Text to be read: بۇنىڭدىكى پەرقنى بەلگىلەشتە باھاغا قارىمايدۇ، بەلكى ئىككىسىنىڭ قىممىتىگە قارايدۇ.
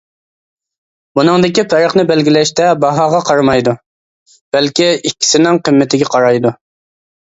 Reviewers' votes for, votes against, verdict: 2, 0, accepted